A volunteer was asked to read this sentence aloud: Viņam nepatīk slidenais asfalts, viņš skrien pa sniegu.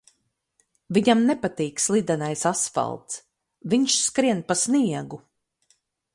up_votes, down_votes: 4, 0